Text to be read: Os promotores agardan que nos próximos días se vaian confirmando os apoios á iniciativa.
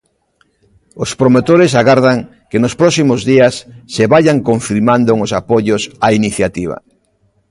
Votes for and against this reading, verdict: 1, 2, rejected